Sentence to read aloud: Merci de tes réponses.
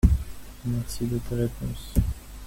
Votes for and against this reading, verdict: 2, 1, accepted